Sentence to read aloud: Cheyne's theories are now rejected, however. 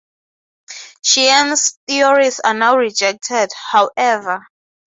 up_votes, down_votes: 3, 3